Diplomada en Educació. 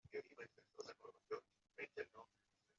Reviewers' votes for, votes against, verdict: 1, 2, rejected